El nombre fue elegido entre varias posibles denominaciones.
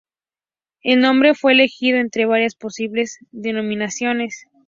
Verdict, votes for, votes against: accepted, 2, 0